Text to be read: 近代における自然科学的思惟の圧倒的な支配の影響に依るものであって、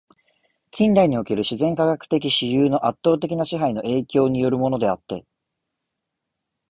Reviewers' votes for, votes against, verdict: 2, 0, accepted